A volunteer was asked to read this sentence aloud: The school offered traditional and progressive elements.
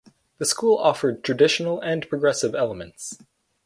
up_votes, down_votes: 4, 0